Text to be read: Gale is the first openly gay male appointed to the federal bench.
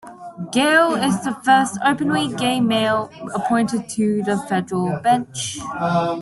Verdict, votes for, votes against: rejected, 1, 2